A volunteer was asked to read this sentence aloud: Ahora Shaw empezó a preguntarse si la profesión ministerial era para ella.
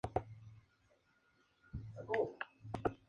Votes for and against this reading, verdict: 0, 2, rejected